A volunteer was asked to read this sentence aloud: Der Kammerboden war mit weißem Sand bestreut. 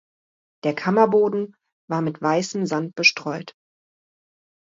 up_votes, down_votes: 2, 0